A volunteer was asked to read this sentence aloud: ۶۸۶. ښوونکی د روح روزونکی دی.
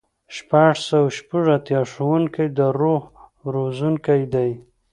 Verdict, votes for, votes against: rejected, 0, 2